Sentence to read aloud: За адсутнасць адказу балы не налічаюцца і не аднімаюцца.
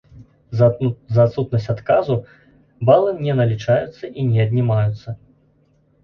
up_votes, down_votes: 1, 2